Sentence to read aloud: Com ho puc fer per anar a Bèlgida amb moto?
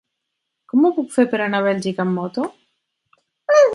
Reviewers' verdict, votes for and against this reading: rejected, 0, 4